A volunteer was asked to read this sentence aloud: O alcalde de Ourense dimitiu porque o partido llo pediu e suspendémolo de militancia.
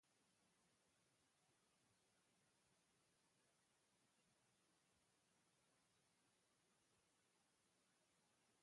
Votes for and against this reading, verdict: 0, 3, rejected